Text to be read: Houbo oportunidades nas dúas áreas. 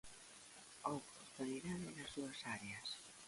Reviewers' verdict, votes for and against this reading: rejected, 0, 2